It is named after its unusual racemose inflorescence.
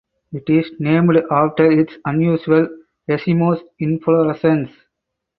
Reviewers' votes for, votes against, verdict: 4, 2, accepted